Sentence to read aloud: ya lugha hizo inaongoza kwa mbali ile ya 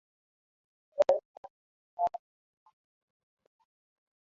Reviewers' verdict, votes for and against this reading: rejected, 0, 2